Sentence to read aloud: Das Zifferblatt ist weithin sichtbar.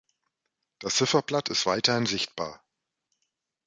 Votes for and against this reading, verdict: 3, 1, accepted